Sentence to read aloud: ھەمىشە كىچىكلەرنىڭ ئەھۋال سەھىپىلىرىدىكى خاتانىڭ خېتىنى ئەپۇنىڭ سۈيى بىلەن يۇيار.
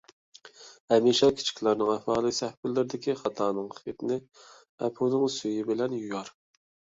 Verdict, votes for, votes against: rejected, 0, 2